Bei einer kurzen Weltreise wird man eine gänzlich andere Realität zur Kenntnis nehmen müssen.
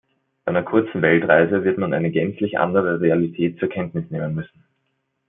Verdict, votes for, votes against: accepted, 2, 1